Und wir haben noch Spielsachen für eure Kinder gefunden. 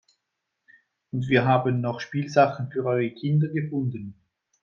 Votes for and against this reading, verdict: 2, 0, accepted